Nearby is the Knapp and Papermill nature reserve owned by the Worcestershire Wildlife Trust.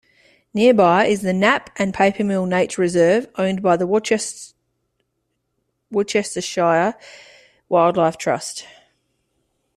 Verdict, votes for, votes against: rejected, 0, 2